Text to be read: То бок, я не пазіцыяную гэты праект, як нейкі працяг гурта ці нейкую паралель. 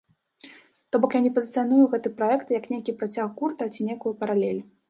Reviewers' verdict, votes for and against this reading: rejected, 0, 2